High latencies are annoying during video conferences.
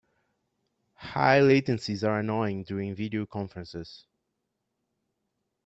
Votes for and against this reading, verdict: 2, 0, accepted